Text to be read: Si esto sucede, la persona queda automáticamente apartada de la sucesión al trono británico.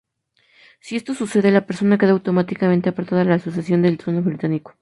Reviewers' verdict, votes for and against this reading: accepted, 2, 0